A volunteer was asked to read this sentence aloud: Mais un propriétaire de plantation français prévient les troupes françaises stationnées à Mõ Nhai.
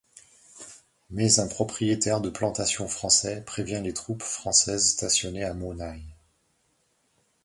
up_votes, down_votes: 2, 0